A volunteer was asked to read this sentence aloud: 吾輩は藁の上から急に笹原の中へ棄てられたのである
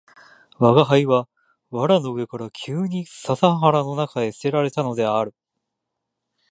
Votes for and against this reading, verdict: 2, 0, accepted